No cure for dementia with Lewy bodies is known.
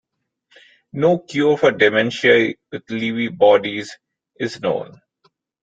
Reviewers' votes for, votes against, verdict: 0, 2, rejected